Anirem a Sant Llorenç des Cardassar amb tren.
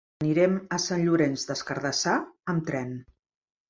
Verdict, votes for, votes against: rejected, 1, 2